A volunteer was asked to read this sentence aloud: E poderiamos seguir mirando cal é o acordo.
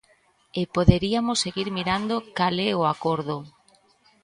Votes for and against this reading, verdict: 1, 2, rejected